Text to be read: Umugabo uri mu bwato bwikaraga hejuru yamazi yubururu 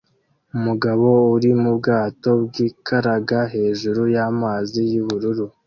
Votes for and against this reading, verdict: 2, 0, accepted